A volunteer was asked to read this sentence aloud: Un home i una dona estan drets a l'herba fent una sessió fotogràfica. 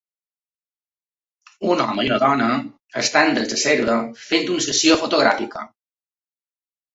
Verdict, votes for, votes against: rejected, 0, 2